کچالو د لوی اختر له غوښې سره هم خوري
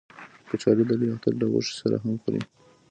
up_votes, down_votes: 2, 0